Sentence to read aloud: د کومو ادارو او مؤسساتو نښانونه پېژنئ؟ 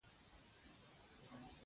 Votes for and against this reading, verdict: 1, 2, rejected